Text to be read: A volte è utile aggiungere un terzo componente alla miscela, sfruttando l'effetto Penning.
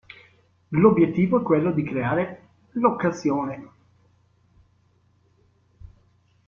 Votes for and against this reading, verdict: 1, 2, rejected